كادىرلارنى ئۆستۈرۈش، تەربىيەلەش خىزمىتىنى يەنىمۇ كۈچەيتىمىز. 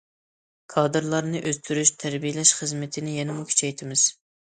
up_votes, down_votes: 2, 1